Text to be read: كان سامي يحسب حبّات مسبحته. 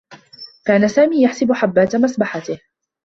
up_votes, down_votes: 2, 0